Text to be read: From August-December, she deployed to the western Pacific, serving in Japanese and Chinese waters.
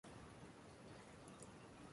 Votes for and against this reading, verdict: 0, 2, rejected